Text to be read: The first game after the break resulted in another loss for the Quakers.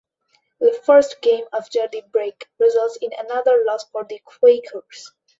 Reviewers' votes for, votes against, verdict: 1, 2, rejected